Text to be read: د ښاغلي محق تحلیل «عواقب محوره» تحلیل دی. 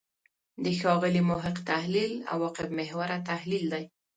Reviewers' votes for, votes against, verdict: 2, 0, accepted